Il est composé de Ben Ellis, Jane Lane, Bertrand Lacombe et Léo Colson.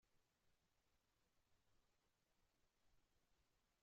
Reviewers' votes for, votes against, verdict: 0, 2, rejected